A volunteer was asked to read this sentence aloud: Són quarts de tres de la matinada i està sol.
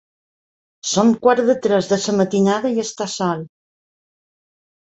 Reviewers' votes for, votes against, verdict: 1, 2, rejected